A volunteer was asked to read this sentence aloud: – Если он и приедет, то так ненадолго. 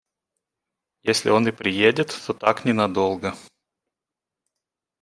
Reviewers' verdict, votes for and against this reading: accepted, 2, 0